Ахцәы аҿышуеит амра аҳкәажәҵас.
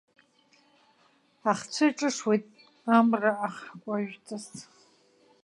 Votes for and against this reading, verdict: 1, 2, rejected